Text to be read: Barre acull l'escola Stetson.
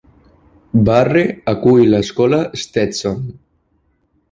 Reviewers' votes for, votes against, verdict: 0, 2, rejected